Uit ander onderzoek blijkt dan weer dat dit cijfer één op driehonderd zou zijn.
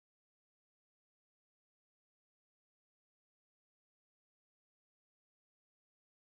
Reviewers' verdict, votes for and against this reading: rejected, 0, 2